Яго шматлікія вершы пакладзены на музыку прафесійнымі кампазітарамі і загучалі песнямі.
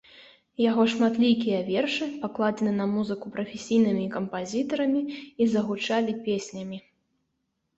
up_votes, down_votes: 2, 0